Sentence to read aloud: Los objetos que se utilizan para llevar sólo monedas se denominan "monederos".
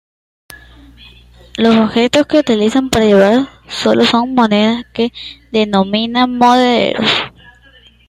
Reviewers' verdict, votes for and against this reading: rejected, 0, 2